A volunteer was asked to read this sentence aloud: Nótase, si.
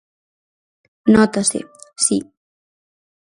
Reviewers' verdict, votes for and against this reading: accepted, 4, 0